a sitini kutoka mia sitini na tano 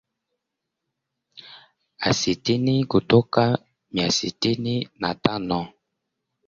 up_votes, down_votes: 0, 2